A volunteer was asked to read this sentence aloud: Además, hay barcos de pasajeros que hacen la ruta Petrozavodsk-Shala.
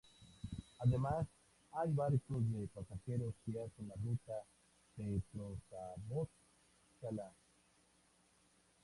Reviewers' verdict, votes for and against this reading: accepted, 4, 0